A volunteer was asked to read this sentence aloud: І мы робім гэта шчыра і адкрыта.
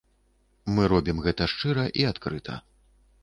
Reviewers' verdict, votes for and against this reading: rejected, 1, 2